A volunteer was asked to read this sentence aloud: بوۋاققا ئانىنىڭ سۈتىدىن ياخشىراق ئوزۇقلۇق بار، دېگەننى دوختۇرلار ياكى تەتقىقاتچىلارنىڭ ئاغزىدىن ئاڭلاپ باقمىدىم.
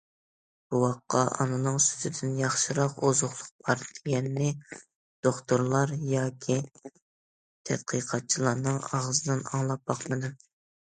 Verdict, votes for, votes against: accepted, 2, 0